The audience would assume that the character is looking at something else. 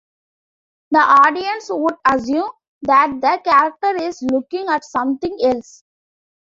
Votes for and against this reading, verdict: 2, 0, accepted